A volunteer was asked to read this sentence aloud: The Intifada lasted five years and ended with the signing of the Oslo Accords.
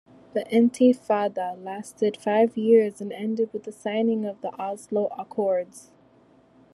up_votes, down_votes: 2, 0